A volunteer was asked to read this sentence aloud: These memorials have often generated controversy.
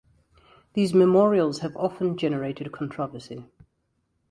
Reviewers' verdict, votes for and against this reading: accepted, 2, 1